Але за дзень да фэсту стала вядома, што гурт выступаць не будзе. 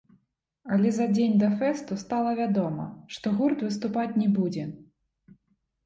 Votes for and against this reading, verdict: 2, 1, accepted